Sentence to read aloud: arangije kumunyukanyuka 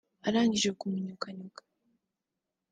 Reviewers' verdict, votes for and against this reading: rejected, 1, 2